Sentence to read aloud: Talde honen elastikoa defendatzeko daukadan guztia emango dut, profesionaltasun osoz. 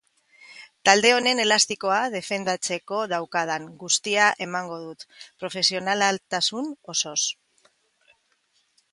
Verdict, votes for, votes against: rejected, 0, 3